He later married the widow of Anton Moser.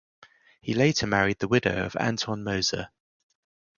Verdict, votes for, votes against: accepted, 2, 0